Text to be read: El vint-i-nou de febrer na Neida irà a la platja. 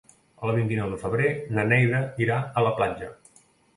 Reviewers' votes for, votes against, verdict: 2, 0, accepted